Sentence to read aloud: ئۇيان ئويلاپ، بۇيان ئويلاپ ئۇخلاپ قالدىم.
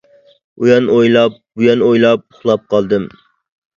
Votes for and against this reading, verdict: 2, 0, accepted